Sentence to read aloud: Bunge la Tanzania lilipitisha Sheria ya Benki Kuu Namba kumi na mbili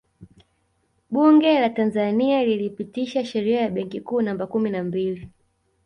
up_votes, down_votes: 2, 0